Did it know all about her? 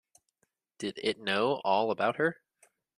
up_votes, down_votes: 2, 1